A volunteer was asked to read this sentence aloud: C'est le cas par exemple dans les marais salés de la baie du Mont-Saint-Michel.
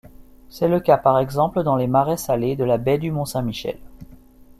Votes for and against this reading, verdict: 2, 0, accepted